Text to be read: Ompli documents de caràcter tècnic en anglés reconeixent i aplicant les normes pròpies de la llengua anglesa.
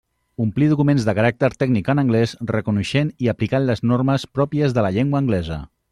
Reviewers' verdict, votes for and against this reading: rejected, 1, 2